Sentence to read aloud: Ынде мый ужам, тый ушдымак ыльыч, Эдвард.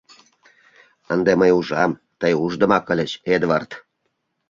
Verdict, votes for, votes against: accepted, 2, 0